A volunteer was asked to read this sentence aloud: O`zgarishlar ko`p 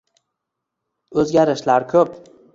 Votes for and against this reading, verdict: 2, 0, accepted